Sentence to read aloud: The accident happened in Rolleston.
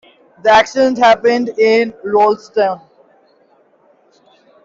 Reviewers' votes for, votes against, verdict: 2, 1, accepted